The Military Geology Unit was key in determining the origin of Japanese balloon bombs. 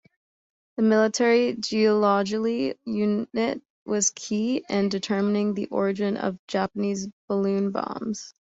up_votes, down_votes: 1, 2